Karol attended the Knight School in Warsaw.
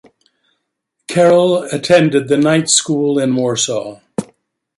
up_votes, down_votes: 2, 1